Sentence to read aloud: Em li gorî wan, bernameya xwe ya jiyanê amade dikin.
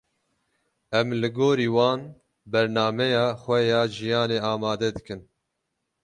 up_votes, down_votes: 12, 0